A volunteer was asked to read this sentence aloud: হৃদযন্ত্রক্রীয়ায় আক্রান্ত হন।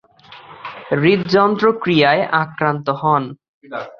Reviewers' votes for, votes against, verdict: 4, 0, accepted